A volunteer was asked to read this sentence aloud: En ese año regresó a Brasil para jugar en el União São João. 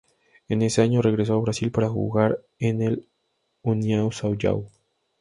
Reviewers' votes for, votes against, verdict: 2, 0, accepted